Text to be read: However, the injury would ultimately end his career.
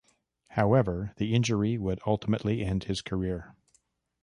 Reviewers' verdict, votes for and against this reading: accepted, 2, 0